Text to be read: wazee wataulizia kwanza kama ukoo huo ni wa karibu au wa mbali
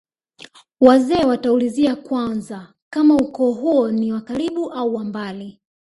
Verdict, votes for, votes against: rejected, 0, 2